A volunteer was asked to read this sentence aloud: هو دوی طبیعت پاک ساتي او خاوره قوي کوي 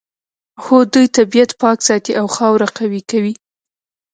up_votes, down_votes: 0, 2